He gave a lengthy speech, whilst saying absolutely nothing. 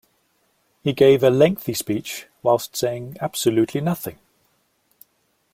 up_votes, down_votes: 2, 0